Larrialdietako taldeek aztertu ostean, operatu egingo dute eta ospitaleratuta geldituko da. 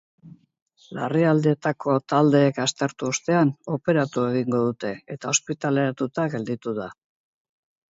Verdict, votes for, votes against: rejected, 0, 4